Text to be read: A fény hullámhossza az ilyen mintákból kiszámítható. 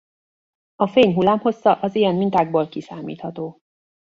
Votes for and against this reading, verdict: 1, 2, rejected